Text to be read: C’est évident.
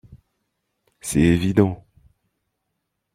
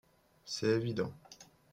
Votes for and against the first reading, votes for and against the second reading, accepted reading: 1, 2, 2, 1, second